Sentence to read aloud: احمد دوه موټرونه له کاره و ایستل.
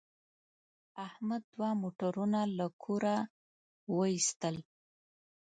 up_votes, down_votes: 0, 2